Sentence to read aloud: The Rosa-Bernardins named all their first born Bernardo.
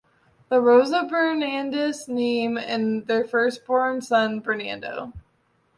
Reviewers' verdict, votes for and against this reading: rejected, 0, 2